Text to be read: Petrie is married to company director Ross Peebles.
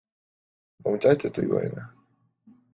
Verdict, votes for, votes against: rejected, 0, 2